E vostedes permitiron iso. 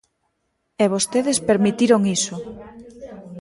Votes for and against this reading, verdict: 0, 2, rejected